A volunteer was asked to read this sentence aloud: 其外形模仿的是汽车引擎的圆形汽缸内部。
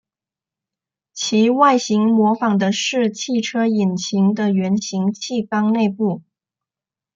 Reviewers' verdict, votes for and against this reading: accepted, 2, 0